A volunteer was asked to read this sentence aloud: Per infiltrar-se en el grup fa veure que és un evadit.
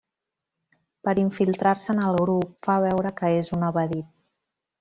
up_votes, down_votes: 0, 2